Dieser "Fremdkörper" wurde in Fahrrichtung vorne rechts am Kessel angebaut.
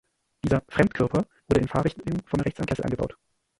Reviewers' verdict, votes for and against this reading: rejected, 0, 2